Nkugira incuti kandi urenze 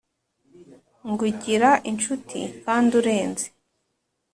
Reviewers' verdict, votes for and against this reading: accepted, 2, 0